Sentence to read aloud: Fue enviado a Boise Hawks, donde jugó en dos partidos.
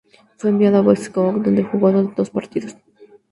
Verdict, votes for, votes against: accepted, 2, 0